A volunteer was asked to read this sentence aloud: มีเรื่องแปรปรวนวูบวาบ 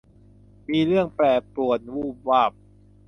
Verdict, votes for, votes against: accepted, 2, 0